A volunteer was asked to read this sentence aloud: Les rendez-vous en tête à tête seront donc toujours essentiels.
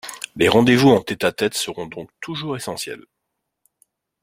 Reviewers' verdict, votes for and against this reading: accepted, 2, 0